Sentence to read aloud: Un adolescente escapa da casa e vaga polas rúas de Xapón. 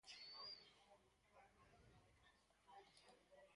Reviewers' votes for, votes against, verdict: 0, 4, rejected